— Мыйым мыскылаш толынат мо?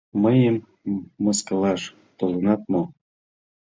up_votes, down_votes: 2, 1